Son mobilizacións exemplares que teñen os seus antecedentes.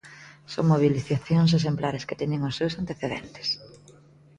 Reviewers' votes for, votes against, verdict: 0, 2, rejected